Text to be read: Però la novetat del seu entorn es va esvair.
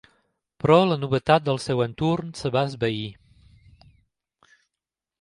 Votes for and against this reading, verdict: 0, 3, rejected